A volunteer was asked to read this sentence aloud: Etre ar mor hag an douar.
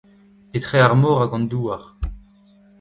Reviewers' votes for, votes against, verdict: 2, 0, accepted